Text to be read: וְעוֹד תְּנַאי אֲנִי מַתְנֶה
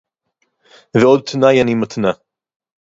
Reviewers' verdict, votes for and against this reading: accepted, 4, 2